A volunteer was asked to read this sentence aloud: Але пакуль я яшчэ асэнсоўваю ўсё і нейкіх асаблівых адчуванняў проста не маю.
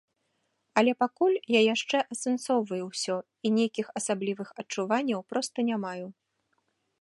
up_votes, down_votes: 2, 0